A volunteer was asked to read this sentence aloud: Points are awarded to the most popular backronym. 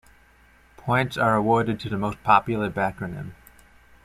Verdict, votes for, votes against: accepted, 2, 0